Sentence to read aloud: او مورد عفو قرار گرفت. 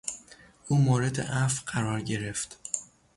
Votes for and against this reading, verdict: 6, 0, accepted